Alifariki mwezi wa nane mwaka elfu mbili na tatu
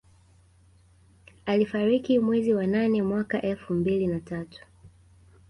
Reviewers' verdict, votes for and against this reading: accepted, 2, 0